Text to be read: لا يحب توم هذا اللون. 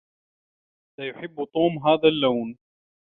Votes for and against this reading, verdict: 2, 0, accepted